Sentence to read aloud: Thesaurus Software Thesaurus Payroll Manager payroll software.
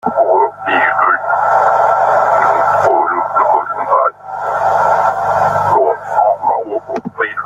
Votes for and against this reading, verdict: 0, 2, rejected